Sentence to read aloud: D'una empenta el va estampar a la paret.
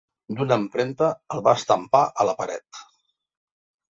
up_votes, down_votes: 1, 2